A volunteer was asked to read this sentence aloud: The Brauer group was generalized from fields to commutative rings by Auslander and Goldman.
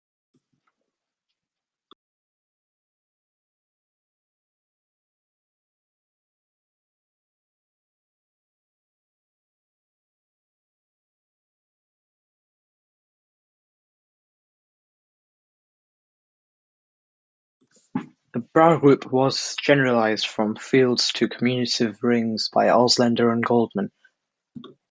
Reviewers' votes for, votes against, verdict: 0, 2, rejected